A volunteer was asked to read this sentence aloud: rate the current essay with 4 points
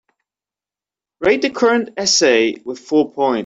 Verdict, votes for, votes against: rejected, 0, 2